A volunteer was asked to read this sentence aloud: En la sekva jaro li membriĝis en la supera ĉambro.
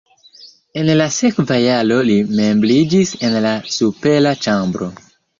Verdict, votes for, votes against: rejected, 1, 2